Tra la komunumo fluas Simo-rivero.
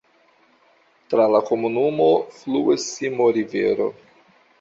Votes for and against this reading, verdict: 2, 1, accepted